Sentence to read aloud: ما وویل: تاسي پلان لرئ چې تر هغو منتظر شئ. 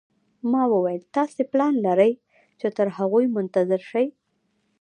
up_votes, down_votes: 1, 2